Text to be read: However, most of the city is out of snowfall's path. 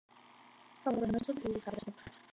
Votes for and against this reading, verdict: 0, 2, rejected